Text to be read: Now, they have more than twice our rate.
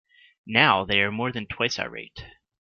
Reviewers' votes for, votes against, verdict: 0, 2, rejected